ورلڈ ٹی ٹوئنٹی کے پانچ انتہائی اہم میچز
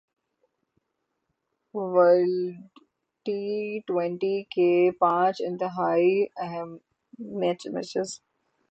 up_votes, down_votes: 0, 6